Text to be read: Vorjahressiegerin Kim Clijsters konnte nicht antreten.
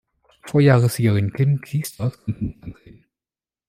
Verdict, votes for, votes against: rejected, 1, 2